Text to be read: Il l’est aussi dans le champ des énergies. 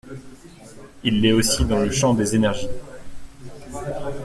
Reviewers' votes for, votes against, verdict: 2, 0, accepted